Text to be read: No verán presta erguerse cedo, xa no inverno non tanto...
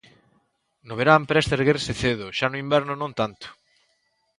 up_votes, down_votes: 2, 0